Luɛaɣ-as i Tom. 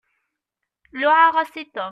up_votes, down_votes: 2, 0